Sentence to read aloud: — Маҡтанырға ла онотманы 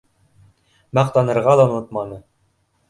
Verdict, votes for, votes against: accepted, 2, 0